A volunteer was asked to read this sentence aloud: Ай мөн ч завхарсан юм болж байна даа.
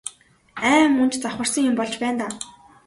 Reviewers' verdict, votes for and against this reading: accepted, 2, 0